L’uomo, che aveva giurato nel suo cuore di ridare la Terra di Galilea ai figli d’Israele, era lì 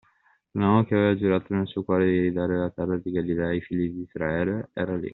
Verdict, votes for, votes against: accepted, 2, 1